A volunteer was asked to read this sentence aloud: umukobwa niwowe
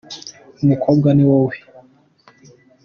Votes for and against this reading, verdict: 2, 0, accepted